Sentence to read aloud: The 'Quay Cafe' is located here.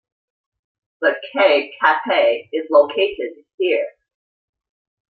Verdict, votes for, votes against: rejected, 0, 2